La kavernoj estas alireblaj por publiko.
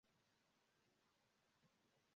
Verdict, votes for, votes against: rejected, 1, 2